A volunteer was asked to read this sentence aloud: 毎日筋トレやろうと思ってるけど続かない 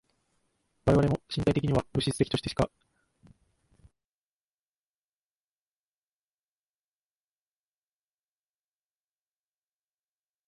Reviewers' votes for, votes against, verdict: 0, 2, rejected